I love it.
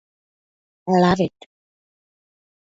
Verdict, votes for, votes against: rejected, 2, 4